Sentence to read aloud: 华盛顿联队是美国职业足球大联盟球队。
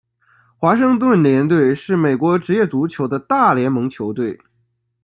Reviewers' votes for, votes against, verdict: 1, 2, rejected